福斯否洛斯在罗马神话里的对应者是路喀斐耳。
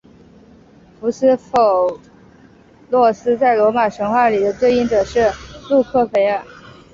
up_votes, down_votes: 4, 0